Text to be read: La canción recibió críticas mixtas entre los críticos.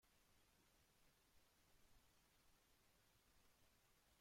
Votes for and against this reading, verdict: 0, 2, rejected